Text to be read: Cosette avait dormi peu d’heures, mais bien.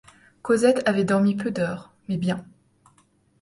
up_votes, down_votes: 2, 0